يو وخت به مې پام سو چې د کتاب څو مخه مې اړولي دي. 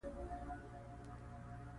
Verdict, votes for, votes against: rejected, 0, 2